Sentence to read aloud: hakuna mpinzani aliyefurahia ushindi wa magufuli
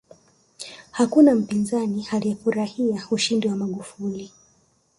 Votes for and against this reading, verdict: 2, 1, accepted